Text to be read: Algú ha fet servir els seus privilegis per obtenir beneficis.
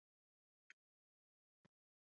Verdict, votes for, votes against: rejected, 0, 2